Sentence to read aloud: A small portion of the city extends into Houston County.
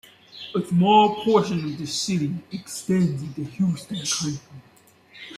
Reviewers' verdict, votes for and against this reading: rejected, 0, 2